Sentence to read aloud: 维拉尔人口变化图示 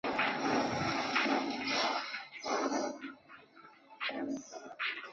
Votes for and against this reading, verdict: 0, 5, rejected